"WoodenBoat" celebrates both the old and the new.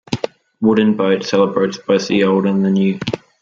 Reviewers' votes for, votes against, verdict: 2, 0, accepted